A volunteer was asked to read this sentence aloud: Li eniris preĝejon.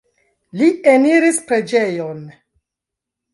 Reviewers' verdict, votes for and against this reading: rejected, 0, 2